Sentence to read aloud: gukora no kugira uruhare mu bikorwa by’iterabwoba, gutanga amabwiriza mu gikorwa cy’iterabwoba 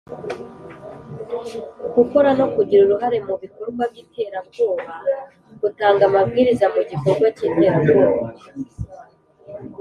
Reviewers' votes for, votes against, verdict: 3, 0, accepted